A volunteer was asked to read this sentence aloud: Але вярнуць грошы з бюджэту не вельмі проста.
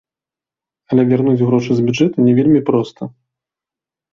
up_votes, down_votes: 2, 0